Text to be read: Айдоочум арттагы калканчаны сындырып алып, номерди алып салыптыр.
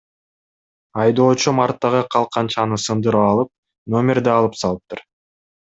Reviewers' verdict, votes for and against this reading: accepted, 2, 0